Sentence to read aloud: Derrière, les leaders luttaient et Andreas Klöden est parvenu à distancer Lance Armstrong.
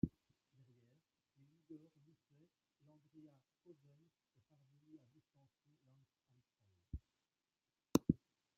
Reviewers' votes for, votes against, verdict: 0, 2, rejected